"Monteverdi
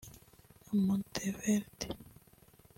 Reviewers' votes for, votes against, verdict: 0, 2, rejected